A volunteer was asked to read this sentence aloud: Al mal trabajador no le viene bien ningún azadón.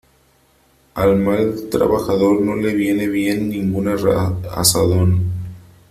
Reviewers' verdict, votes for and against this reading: rejected, 0, 3